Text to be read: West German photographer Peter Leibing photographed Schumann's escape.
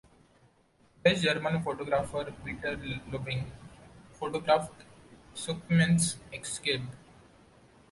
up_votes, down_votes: 1, 2